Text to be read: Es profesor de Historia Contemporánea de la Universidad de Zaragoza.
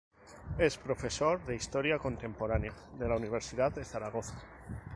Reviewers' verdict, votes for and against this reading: rejected, 0, 2